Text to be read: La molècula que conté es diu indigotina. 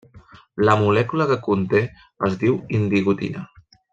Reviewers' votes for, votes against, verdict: 4, 1, accepted